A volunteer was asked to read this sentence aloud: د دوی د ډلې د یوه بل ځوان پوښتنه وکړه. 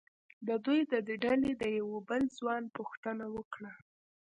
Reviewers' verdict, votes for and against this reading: rejected, 0, 2